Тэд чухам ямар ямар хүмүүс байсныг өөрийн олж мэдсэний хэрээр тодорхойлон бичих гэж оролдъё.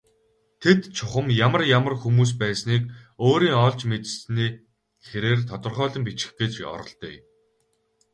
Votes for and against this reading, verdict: 2, 2, rejected